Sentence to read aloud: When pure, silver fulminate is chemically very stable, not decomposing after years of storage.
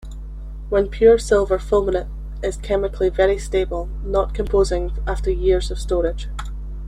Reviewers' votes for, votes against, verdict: 1, 3, rejected